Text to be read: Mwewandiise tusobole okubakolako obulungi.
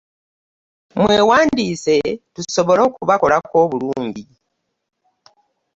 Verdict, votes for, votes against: accepted, 2, 0